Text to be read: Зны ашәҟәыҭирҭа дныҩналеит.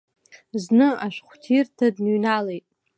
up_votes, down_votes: 3, 0